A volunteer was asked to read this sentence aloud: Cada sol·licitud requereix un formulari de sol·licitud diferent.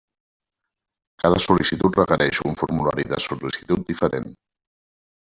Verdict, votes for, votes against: rejected, 0, 2